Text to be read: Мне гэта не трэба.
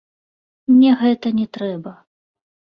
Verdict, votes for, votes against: rejected, 1, 3